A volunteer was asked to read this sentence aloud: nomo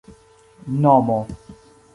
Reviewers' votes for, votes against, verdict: 1, 2, rejected